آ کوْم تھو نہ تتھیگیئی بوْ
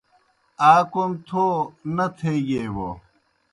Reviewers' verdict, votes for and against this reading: rejected, 0, 2